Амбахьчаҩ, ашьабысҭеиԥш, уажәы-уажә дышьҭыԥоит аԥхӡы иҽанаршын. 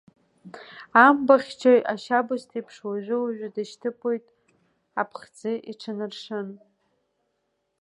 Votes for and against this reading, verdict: 2, 0, accepted